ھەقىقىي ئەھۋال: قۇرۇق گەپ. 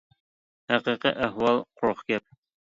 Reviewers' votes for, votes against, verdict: 2, 0, accepted